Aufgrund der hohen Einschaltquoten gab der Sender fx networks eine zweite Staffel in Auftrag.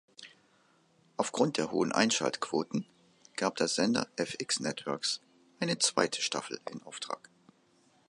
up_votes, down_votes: 2, 0